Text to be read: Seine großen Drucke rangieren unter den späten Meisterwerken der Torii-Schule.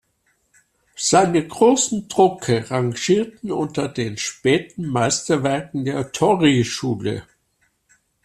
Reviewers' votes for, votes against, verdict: 1, 2, rejected